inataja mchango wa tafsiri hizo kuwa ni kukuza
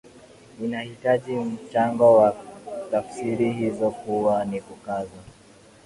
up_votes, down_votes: 0, 2